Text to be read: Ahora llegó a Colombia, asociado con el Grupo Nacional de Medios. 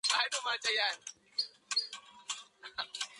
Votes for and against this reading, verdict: 0, 2, rejected